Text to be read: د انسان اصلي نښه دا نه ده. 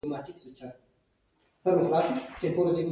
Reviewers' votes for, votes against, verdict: 0, 2, rejected